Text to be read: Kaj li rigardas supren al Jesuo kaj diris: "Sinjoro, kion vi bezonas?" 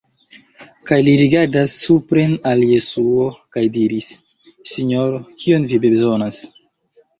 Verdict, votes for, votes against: accepted, 2, 0